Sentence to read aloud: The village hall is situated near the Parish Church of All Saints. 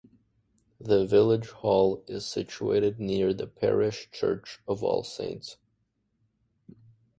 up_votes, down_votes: 2, 0